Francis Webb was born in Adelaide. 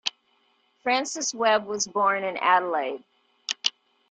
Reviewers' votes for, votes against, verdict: 2, 0, accepted